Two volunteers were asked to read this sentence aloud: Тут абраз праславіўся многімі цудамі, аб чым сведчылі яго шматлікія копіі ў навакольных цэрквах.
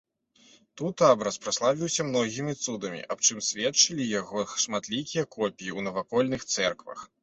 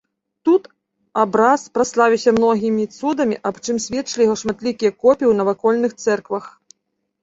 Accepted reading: second